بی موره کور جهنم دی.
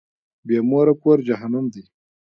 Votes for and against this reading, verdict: 2, 0, accepted